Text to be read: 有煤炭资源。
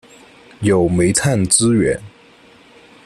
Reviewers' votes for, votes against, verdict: 2, 0, accepted